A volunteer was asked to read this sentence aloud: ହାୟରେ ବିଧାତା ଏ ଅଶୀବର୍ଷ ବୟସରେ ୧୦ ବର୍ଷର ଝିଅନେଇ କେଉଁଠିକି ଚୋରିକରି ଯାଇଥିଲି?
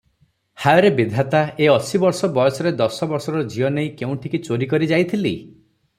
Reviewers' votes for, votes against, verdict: 0, 2, rejected